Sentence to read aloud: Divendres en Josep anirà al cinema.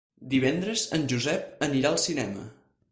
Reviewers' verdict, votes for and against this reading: accepted, 4, 0